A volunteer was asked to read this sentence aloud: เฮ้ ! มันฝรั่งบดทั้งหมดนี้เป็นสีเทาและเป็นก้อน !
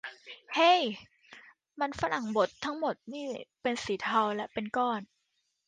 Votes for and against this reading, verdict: 0, 2, rejected